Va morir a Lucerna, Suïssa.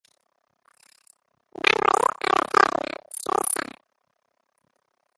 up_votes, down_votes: 0, 2